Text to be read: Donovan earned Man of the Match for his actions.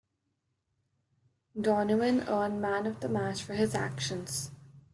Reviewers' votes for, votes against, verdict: 2, 1, accepted